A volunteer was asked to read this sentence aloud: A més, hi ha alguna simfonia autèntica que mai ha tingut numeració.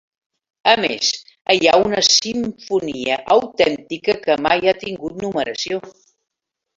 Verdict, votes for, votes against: rejected, 1, 2